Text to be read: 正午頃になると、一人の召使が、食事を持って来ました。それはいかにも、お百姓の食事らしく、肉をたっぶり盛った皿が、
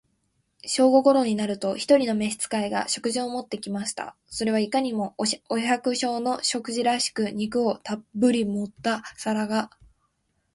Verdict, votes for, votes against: accepted, 2, 0